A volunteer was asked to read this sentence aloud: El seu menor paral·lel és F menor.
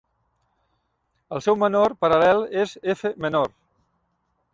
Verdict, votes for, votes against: rejected, 1, 2